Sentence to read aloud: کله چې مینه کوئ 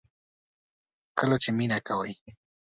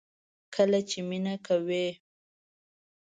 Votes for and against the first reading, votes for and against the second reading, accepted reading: 2, 0, 0, 2, first